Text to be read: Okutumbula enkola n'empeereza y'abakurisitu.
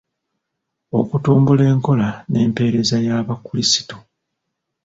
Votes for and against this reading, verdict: 0, 2, rejected